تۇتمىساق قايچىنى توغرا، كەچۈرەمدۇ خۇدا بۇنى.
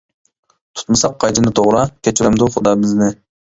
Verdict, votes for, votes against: rejected, 0, 2